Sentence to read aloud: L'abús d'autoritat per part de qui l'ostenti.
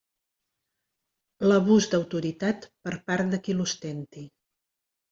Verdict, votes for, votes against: accepted, 3, 0